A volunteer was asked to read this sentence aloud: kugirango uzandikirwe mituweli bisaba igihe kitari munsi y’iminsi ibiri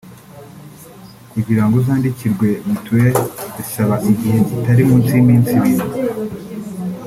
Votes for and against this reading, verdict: 3, 0, accepted